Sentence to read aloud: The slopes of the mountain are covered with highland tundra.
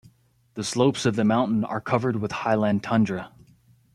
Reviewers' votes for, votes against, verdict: 2, 0, accepted